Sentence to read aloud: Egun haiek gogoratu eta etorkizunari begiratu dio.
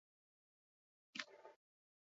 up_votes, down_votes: 0, 8